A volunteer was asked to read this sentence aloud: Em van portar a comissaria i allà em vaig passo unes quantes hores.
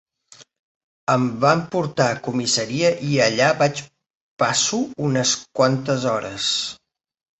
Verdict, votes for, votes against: rejected, 1, 2